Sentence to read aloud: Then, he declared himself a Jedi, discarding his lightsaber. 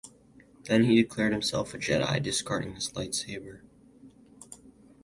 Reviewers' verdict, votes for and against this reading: accepted, 2, 0